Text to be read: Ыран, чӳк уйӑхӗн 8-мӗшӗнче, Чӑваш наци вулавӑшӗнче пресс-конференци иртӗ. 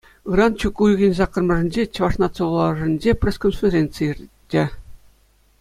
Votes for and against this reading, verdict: 0, 2, rejected